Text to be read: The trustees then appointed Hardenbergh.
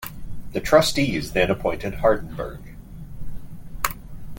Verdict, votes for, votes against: accepted, 3, 0